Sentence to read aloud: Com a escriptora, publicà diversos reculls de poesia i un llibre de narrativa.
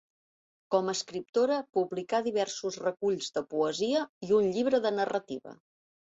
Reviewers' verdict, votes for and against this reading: accepted, 3, 0